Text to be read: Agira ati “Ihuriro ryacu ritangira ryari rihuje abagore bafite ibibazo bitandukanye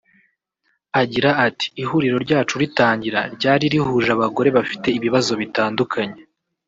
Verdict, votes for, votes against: rejected, 1, 2